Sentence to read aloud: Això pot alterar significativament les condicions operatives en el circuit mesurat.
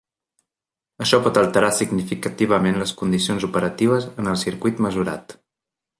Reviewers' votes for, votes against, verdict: 3, 0, accepted